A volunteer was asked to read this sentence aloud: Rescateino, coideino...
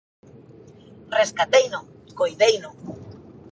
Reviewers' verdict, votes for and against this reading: accepted, 2, 0